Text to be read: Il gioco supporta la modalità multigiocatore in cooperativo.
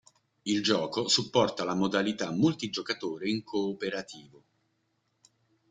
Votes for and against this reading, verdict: 4, 0, accepted